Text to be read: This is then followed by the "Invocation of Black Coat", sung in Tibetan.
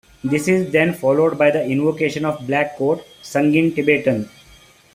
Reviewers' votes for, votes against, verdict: 2, 0, accepted